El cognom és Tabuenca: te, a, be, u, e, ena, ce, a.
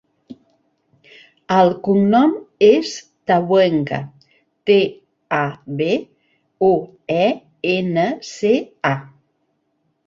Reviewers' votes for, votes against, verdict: 7, 1, accepted